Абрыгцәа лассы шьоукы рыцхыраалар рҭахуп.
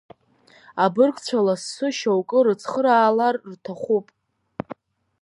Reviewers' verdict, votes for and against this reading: rejected, 1, 2